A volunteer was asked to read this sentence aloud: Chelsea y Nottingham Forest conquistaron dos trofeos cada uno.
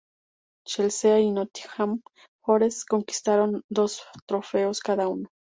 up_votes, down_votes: 2, 0